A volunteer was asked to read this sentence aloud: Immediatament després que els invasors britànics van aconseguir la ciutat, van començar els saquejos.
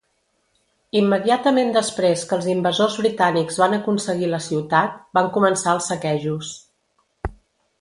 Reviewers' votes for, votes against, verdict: 2, 0, accepted